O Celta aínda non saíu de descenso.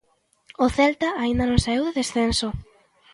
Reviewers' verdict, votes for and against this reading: rejected, 0, 2